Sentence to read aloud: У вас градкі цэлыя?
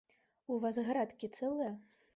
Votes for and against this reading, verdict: 2, 0, accepted